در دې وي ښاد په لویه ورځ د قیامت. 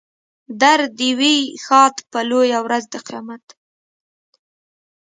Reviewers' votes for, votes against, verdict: 2, 0, accepted